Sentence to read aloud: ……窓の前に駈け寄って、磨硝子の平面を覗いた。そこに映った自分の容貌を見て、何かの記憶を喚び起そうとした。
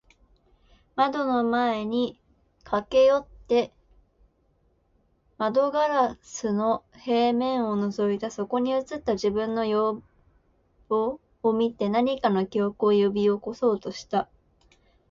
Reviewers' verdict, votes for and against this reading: rejected, 1, 2